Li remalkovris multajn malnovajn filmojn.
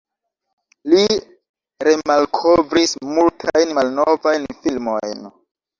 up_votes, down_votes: 2, 0